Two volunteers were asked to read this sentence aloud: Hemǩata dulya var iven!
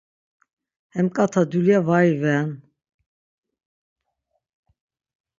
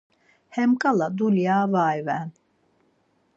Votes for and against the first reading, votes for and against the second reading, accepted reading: 6, 0, 0, 4, first